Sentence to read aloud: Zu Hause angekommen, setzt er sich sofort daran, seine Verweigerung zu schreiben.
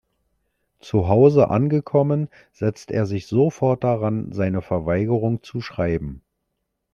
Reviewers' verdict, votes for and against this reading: accepted, 3, 0